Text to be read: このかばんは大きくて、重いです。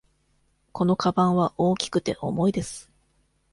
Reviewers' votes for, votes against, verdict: 2, 0, accepted